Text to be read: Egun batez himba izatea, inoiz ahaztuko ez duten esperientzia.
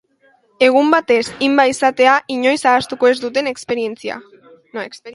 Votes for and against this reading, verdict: 0, 2, rejected